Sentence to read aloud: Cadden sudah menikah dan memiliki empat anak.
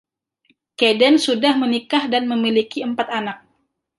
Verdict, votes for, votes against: accepted, 2, 0